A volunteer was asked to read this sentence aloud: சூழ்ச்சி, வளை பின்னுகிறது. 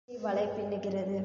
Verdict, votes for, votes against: rejected, 1, 2